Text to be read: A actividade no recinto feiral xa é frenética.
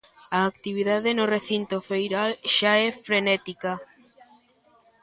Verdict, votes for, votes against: accepted, 2, 0